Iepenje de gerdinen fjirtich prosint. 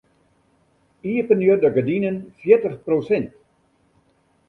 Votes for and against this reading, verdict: 2, 0, accepted